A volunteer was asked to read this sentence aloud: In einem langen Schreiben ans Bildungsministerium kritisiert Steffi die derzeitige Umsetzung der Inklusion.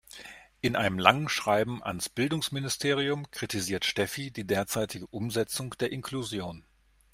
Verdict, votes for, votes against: accepted, 2, 0